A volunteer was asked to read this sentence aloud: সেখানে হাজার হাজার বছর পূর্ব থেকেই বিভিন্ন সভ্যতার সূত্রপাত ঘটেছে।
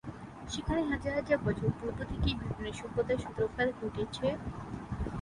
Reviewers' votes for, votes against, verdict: 0, 6, rejected